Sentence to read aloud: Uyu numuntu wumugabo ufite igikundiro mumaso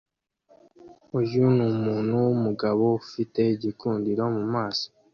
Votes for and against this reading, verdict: 2, 0, accepted